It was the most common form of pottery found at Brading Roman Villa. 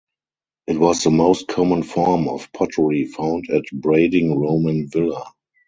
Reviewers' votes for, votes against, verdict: 4, 0, accepted